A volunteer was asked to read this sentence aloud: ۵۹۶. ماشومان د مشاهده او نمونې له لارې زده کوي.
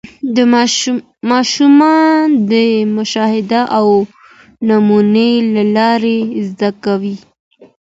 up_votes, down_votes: 0, 2